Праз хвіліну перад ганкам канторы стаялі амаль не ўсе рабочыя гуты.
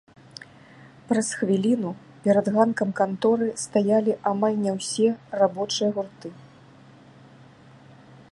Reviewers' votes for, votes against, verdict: 0, 2, rejected